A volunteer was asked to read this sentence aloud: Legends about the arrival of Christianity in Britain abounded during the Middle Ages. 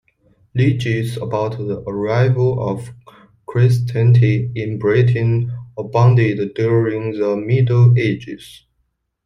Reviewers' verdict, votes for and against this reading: rejected, 0, 2